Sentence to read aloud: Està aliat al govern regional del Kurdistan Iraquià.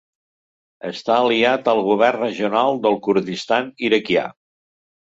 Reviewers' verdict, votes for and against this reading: accepted, 3, 0